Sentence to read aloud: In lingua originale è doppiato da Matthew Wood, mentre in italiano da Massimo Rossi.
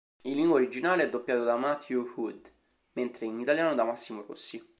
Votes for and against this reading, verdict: 2, 1, accepted